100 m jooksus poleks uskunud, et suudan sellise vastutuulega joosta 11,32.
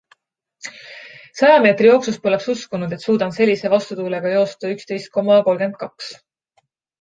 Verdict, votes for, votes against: rejected, 0, 2